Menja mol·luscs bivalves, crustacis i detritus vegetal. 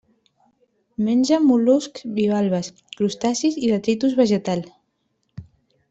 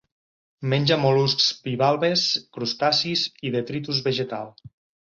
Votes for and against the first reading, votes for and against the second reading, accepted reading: 1, 2, 4, 0, second